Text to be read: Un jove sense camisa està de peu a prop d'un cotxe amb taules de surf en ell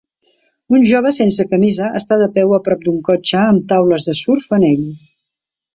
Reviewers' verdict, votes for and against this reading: accepted, 2, 0